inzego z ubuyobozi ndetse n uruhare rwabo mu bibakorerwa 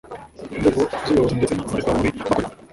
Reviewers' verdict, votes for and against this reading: rejected, 1, 2